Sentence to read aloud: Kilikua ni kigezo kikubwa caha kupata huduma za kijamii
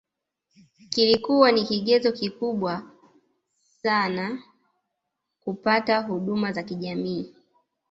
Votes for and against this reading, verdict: 2, 0, accepted